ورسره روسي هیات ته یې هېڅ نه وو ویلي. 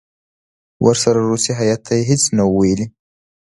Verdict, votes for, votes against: accepted, 2, 0